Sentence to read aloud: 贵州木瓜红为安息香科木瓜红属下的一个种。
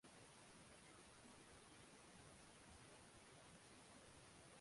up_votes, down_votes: 0, 2